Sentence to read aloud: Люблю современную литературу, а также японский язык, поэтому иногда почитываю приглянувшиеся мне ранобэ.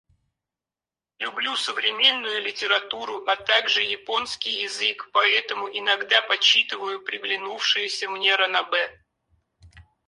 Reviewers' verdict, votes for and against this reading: rejected, 0, 4